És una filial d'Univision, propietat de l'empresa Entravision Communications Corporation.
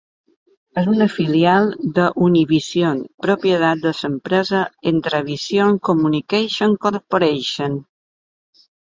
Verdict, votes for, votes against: rejected, 1, 2